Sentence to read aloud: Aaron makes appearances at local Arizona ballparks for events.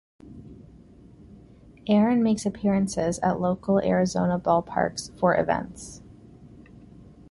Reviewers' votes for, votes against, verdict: 2, 0, accepted